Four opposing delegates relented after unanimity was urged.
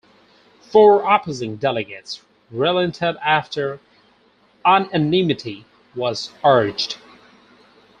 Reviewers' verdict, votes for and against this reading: rejected, 0, 4